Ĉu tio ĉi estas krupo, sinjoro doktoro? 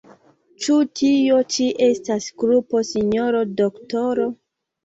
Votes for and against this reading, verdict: 0, 2, rejected